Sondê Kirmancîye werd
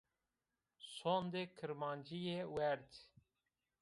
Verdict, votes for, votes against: rejected, 0, 2